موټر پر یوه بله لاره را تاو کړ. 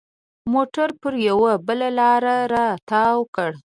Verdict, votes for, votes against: accepted, 2, 0